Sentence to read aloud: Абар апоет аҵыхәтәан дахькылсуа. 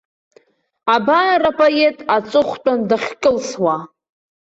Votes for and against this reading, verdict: 2, 0, accepted